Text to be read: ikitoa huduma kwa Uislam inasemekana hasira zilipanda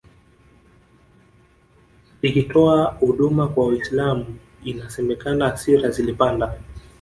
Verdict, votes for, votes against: accepted, 2, 0